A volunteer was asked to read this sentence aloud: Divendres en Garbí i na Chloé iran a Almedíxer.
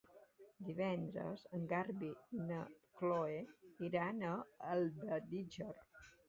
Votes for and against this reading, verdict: 2, 1, accepted